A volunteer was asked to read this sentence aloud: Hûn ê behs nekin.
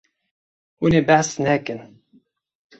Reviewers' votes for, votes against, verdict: 2, 0, accepted